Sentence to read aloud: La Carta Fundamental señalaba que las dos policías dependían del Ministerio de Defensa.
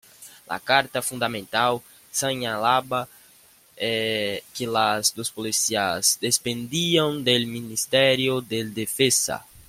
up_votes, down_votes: 0, 2